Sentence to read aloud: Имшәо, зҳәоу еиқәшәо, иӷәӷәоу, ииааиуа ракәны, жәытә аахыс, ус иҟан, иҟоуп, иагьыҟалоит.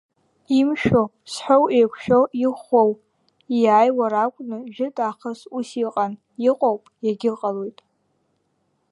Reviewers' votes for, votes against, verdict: 1, 2, rejected